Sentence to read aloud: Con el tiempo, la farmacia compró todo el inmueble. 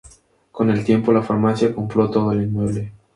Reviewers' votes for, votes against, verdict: 2, 0, accepted